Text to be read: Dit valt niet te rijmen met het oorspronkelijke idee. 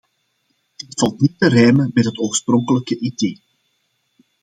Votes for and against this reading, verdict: 2, 0, accepted